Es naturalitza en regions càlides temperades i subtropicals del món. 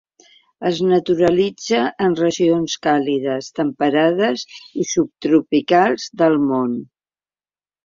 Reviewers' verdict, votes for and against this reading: accepted, 2, 0